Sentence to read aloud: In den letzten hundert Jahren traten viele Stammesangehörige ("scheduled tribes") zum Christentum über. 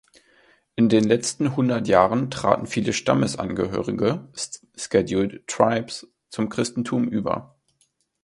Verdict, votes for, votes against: rejected, 1, 2